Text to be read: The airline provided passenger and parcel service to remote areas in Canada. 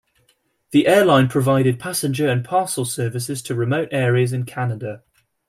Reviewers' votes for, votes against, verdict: 1, 2, rejected